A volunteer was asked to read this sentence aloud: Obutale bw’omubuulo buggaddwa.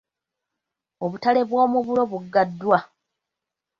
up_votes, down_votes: 1, 2